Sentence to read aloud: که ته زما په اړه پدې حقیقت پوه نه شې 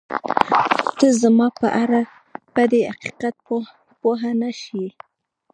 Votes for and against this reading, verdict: 1, 2, rejected